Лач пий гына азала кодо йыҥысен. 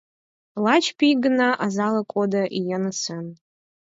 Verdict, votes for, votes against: accepted, 4, 0